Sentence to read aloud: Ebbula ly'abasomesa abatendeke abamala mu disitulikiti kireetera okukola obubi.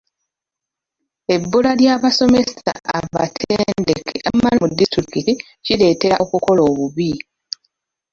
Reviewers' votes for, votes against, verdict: 0, 2, rejected